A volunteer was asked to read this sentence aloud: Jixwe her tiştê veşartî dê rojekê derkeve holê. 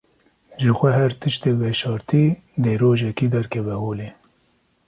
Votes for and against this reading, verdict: 2, 0, accepted